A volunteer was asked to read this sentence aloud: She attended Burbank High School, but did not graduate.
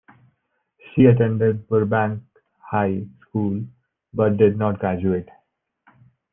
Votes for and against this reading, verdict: 1, 2, rejected